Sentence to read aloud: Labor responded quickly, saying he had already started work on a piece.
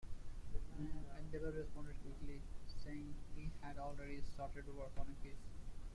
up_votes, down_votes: 0, 2